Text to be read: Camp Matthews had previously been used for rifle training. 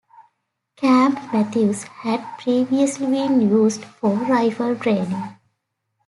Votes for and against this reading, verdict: 2, 0, accepted